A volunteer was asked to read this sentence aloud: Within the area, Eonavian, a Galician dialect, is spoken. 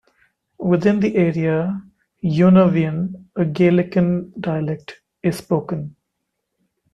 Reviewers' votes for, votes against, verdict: 1, 2, rejected